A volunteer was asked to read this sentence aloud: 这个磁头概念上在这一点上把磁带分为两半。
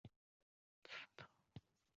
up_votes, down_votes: 0, 3